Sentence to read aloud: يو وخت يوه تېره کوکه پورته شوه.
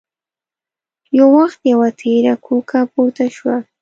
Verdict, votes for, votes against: accepted, 2, 0